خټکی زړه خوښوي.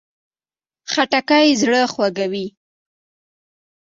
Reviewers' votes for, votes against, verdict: 2, 0, accepted